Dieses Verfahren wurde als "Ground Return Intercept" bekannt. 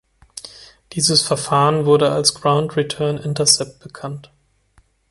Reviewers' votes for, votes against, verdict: 3, 0, accepted